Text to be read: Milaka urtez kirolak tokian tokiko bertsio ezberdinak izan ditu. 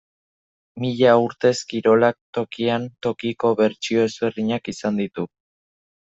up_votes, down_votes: 0, 2